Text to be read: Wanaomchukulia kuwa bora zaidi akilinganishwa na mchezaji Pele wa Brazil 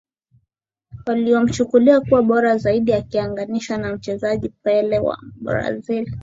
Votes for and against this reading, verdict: 3, 0, accepted